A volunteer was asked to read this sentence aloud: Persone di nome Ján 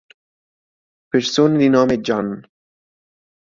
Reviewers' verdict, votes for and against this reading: rejected, 1, 2